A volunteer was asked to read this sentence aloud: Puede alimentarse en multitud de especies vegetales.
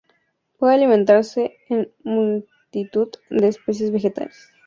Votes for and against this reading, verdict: 0, 2, rejected